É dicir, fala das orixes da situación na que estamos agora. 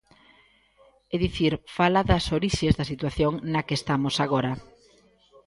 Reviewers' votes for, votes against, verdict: 2, 0, accepted